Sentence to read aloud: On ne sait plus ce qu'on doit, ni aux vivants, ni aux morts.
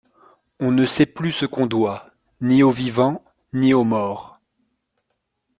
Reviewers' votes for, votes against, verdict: 2, 0, accepted